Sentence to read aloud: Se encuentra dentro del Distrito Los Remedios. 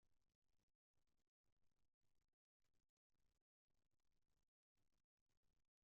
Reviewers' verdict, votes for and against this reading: rejected, 1, 2